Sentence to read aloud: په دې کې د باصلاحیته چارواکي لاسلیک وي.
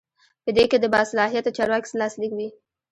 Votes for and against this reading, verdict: 2, 0, accepted